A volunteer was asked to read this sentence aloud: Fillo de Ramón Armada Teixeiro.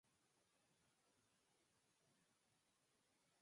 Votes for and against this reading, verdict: 2, 4, rejected